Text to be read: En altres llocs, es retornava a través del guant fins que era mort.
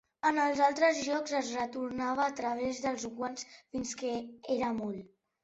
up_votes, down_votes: 1, 2